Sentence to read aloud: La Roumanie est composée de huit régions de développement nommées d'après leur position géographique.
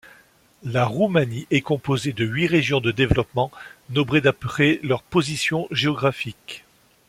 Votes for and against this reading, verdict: 0, 2, rejected